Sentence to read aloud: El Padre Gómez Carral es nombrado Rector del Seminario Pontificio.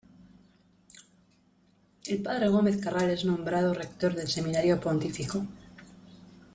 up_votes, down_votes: 0, 2